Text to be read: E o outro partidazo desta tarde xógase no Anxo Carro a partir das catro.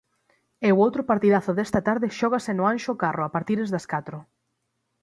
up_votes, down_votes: 0, 6